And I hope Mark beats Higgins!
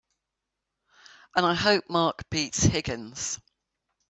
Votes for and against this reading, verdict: 2, 0, accepted